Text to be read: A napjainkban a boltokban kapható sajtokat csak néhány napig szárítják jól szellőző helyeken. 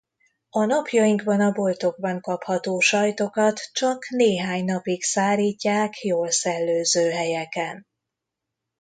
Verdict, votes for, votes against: accepted, 2, 0